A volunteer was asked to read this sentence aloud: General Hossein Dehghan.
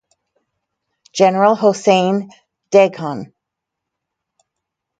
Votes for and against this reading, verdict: 2, 0, accepted